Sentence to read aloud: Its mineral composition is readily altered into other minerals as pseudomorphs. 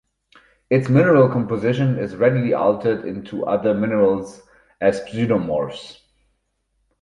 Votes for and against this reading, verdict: 4, 2, accepted